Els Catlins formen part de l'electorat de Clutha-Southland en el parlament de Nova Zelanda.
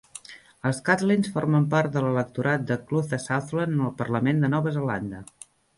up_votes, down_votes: 2, 0